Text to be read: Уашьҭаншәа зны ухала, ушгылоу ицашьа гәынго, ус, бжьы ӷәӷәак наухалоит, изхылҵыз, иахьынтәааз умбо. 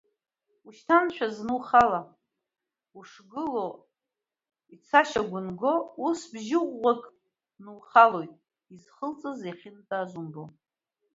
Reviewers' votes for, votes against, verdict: 0, 2, rejected